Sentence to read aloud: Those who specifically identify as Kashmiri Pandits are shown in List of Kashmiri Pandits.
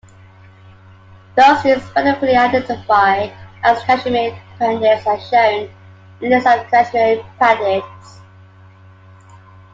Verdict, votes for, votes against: rejected, 0, 2